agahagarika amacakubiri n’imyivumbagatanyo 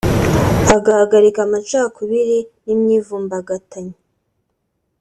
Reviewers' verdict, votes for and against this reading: accepted, 2, 0